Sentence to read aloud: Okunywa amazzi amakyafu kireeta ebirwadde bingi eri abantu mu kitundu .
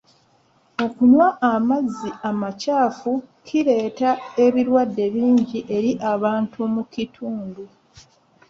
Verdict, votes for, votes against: accepted, 2, 1